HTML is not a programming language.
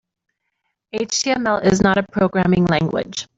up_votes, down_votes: 2, 0